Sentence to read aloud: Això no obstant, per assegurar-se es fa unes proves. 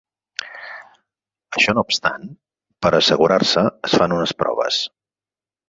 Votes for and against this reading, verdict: 4, 6, rejected